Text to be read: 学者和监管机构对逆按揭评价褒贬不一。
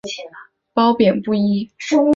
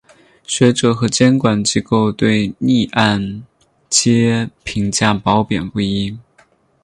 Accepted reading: second